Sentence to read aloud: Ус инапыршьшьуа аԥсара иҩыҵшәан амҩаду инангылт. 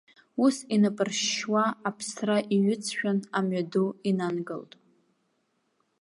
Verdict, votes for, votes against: rejected, 1, 2